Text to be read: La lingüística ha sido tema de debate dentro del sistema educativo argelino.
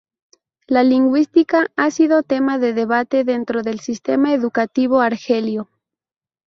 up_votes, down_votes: 0, 2